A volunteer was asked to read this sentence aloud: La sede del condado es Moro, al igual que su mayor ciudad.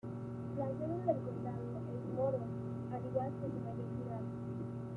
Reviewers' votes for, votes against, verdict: 1, 2, rejected